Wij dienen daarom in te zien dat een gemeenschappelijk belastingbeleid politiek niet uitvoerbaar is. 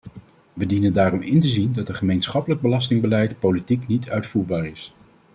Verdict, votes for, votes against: accepted, 2, 0